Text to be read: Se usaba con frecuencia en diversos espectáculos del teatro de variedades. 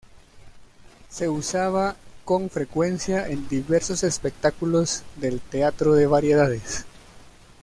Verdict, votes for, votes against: accepted, 2, 1